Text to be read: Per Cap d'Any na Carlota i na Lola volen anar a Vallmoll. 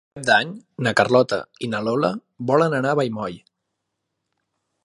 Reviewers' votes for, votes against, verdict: 0, 2, rejected